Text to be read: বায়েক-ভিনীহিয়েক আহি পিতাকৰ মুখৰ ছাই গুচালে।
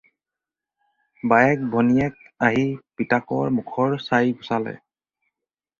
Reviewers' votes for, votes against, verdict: 0, 4, rejected